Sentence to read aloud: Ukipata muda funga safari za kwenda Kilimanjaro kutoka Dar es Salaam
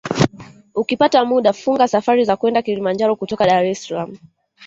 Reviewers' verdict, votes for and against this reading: accepted, 2, 0